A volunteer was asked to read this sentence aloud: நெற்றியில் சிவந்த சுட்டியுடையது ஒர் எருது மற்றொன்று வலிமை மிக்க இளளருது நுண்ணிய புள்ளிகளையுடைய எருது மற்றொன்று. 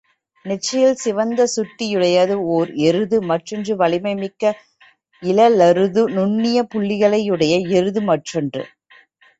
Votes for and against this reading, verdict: 2, 0, accepted